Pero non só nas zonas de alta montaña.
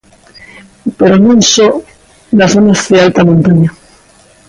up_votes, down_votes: 2, 0